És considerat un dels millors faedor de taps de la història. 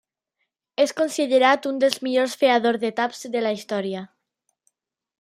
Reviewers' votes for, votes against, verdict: 1, 2, rejected